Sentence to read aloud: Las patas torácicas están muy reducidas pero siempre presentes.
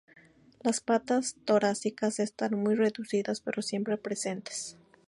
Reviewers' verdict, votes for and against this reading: accepted, 2, 0